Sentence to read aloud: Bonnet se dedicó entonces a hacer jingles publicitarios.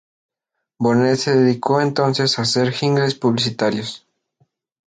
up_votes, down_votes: 0, 2